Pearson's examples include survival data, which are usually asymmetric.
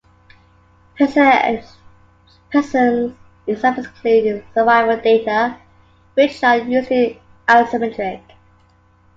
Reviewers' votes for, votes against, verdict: 1, 2, rejected